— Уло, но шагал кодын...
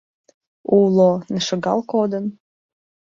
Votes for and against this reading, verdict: 2, 1, accepted